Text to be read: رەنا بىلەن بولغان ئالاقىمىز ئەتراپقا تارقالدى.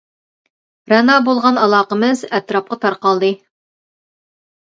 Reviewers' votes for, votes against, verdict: 0, 2, rejected